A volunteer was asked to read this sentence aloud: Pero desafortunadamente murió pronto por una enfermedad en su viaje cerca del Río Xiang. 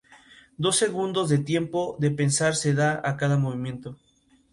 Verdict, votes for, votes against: rejected, 0, 2